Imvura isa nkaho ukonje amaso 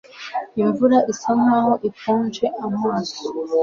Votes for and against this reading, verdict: 2, 0, accepted